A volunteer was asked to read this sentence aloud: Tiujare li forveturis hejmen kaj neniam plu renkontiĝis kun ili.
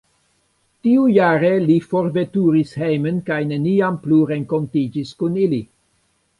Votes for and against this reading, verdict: 1, 2, rejected